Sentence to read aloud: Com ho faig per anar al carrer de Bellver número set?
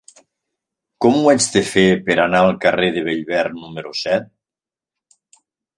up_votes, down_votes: 1, 2